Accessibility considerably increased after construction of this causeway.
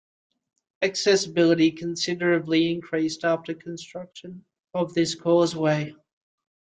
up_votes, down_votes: 3, 0